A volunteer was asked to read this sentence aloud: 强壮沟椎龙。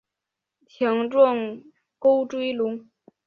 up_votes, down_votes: 5, 0